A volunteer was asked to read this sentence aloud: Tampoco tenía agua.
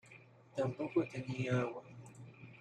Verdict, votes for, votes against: accepted, 2, 0